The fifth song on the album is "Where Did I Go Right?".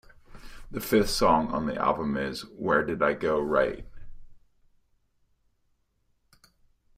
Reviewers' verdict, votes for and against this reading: accepted, 2, 0